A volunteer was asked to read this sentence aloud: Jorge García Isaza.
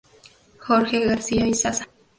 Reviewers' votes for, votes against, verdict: 0, 2, rejected